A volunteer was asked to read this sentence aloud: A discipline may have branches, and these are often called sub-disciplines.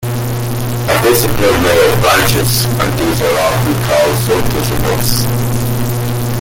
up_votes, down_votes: 1, 2